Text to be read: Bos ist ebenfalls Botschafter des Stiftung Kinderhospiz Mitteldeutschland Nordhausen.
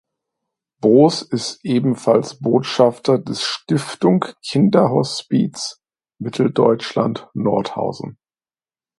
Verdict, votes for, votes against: accepted, 2, 0